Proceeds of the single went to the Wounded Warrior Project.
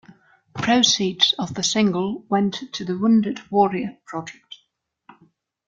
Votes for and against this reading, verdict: 2, 0, accepted